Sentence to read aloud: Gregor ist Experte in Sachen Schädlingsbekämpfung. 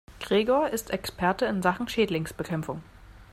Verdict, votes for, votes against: accepted, 2, 0